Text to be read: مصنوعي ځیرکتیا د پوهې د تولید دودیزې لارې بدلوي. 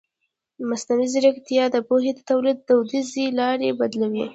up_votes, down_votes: 0, 2